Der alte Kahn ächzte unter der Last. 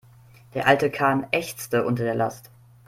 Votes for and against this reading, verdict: 2, 0, accepted